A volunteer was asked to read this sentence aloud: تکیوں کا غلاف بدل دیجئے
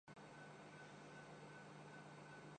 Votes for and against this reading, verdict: 0, 2, rejected